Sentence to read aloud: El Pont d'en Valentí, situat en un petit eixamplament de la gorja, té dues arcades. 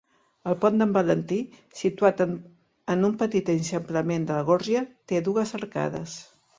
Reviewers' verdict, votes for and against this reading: accepted, 2, 1